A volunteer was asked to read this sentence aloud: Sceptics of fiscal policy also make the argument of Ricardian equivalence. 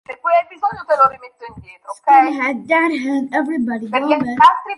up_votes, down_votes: 0, 2